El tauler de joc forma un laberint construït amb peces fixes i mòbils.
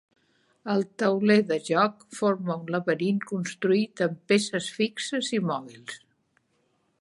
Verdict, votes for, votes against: accepted, 3, 0